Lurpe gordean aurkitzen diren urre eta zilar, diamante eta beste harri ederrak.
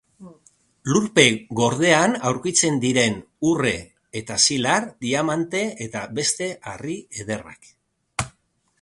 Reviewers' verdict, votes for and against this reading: accepted, 2, 0